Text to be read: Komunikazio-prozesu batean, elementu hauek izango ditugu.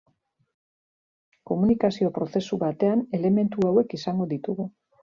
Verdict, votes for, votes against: accepted, 3, 0